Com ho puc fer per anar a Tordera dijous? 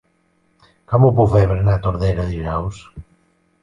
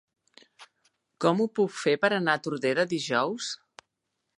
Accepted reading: second